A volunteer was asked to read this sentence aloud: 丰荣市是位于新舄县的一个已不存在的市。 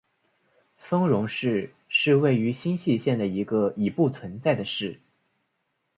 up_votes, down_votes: 3, 0